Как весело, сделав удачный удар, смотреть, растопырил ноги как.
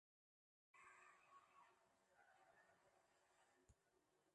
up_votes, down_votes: 0, 2